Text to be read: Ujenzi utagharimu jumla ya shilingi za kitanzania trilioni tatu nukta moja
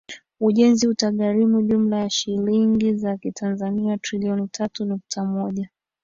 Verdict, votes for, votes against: accepted, 2, 1